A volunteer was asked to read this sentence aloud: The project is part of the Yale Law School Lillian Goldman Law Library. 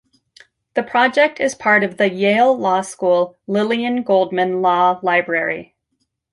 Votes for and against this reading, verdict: 2, 0, accepted